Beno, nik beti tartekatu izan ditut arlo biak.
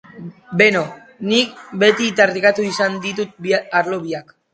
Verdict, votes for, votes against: rejected, 0, 2